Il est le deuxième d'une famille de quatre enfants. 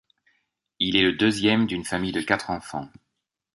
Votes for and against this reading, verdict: 2, 0, accepted